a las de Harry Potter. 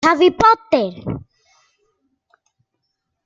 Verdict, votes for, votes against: rejected, 0, 2